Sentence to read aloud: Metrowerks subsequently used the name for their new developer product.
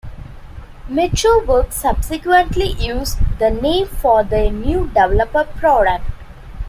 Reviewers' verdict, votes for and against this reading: accepted, 2, 1